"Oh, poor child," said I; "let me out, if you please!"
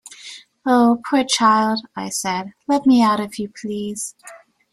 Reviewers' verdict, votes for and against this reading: rejected, 0, 2